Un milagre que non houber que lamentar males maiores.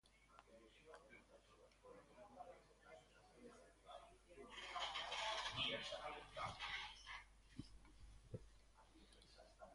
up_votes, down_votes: 0, 2